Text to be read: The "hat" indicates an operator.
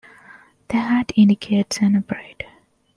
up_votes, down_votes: 2, 0